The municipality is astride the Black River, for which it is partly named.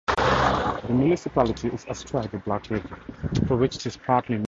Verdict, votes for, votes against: rejected, 0, 2